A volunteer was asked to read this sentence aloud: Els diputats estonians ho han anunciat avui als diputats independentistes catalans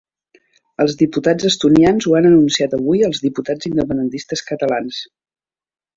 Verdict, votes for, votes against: accepted, 2, 0